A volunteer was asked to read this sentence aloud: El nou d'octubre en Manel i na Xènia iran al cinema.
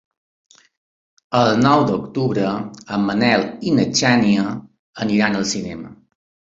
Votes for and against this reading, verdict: 0, 2, rejected